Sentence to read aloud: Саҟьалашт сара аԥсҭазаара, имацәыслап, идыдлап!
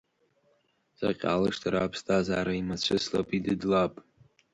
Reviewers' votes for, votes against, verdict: 3, 2, accepted